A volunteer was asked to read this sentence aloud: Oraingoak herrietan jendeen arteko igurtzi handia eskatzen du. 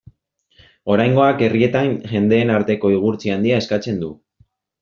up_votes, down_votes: 2, 0